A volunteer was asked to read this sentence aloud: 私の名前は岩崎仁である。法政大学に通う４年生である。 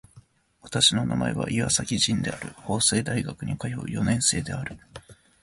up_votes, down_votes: 0, 2